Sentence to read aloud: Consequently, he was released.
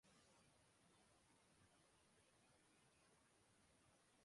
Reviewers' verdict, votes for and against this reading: rejected, 0, 2